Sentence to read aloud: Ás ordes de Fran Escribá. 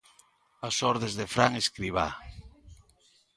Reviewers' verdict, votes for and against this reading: accepted, 2, 0